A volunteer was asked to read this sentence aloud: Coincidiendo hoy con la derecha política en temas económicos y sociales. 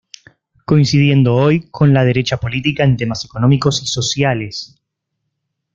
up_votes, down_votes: 2, 0